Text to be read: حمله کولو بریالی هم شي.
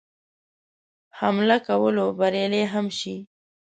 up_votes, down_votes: 2, 0